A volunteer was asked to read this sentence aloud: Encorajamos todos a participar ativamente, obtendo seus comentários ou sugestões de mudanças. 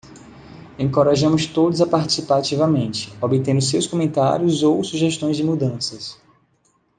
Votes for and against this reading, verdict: 2, 0, accepted